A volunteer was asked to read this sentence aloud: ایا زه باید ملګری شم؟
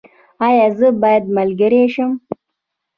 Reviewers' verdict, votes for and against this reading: rejected, 1, 2